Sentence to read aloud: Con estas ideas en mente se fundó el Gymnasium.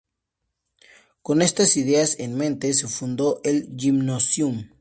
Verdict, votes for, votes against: rejected, 2, 2